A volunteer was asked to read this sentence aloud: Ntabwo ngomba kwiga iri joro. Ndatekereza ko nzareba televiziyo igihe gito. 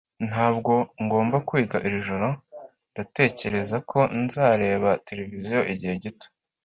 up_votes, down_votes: 2, 0